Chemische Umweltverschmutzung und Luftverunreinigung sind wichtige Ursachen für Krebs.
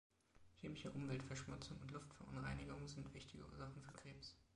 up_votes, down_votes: 2, 0